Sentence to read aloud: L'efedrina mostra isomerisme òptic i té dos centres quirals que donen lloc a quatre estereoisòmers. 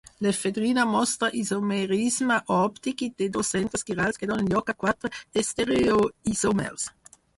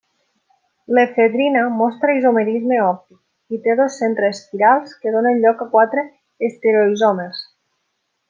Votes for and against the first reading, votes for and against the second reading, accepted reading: 2, 4, 2, 0, second